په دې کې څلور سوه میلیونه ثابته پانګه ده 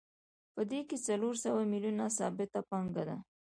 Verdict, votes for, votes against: accepted, 2, 0